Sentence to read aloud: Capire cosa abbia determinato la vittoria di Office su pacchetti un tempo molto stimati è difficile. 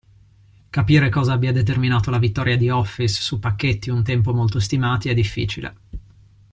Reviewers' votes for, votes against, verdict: 2, 0, accepted